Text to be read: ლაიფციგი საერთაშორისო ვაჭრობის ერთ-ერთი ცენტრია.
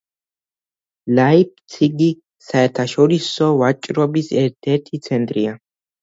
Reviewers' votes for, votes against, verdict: 2, 1, accepted